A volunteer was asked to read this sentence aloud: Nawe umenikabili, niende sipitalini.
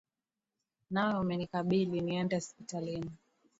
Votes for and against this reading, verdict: 2, 0, accepted